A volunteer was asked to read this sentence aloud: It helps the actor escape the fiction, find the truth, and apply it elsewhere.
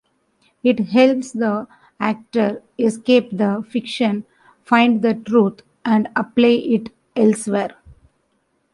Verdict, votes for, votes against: rejected, 1, 2